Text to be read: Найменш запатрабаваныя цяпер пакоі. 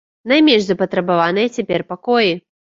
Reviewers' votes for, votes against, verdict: 2, 0, accepted